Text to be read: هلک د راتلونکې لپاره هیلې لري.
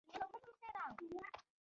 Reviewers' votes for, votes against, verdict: 0, 2, rejected